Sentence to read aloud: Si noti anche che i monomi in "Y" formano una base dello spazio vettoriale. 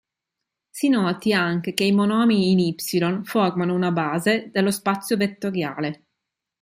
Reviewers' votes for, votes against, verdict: 4, 0, accepted